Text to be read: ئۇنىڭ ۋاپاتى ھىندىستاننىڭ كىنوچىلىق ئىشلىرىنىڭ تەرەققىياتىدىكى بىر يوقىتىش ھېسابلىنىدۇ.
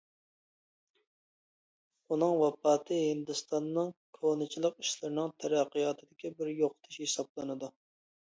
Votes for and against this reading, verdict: 0, 2, rejected